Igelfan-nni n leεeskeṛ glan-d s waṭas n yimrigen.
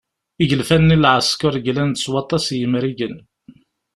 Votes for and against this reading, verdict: 2, 0, accepted